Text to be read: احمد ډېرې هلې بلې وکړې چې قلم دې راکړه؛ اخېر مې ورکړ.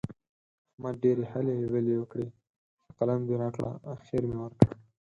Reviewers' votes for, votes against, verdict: 2, 4, rejected